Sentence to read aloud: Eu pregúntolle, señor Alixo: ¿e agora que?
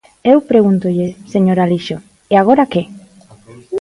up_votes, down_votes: 2, 0